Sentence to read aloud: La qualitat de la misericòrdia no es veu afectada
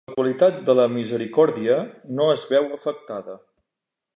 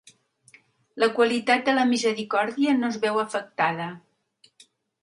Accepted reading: second